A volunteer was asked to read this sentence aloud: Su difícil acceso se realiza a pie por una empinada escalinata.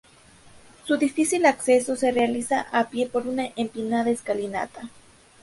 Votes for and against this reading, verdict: 2, 0, accepted